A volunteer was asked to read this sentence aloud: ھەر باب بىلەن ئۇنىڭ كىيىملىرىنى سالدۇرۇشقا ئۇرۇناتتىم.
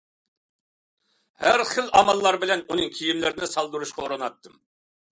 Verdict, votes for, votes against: rejected, 0, 2